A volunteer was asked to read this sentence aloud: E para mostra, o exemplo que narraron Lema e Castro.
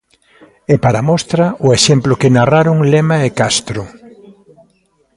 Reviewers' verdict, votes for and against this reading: rejected, 1, 2